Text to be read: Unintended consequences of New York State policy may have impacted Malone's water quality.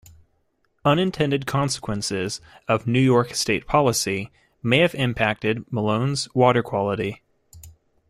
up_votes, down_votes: 2, 0